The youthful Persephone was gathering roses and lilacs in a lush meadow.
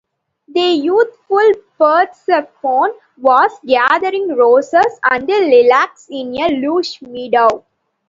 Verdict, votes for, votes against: accepted, 2, 0